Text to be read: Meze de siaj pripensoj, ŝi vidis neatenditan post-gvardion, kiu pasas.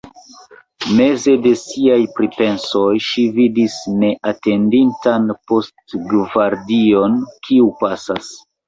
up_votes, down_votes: 1, 2